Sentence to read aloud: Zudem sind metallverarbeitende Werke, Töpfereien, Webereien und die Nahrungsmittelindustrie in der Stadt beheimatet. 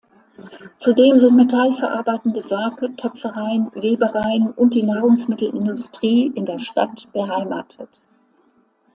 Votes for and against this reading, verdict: 2, 0, accepted